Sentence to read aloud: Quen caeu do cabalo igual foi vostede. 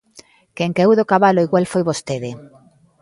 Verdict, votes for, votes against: accepted, 2, 0